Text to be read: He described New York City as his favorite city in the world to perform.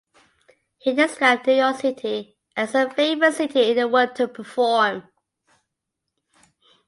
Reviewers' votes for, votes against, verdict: 1, 2, rejected